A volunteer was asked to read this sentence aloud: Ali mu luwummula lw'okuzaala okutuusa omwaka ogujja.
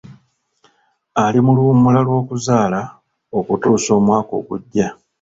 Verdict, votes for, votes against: accepted, 2, 0